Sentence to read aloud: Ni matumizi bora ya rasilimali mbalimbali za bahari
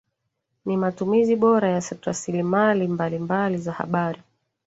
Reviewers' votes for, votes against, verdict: 1, 2, rejected